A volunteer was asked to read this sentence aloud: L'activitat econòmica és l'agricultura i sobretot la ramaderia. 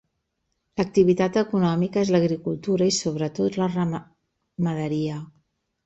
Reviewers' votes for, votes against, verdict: 0, 2, rejected